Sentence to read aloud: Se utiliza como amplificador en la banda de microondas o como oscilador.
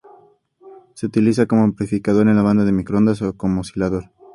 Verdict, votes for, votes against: accepted, 2, 0